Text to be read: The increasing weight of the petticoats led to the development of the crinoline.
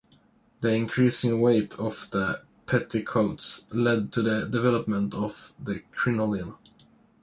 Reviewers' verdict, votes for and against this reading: accepted, 2, 0